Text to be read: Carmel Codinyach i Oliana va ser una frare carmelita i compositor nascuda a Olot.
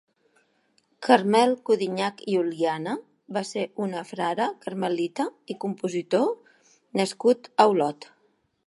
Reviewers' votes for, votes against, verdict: 0, 2, rejected